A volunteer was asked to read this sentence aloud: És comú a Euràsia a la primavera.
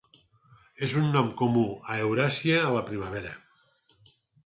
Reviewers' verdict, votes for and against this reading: rejected, 2, 4